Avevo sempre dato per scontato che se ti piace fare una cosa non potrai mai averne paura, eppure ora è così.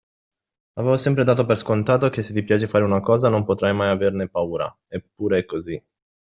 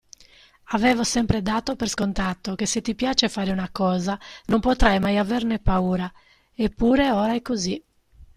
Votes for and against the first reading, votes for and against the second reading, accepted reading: 0, 2, 2, 0, second